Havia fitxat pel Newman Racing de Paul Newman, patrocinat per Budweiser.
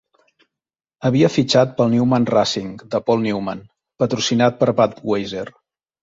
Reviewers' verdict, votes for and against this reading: rejected, 1, 2